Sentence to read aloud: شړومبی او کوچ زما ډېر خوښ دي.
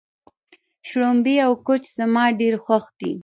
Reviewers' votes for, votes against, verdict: 0, 2, rejected